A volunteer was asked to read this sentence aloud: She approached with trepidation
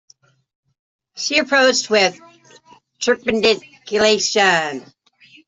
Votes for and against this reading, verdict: 0, 2, rejected